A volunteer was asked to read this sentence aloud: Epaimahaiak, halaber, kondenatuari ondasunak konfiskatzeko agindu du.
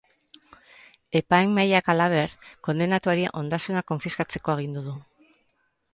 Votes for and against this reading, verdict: 0, 2, rejected